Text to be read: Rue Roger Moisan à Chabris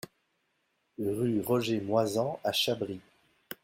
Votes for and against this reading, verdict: 2, 0, accepted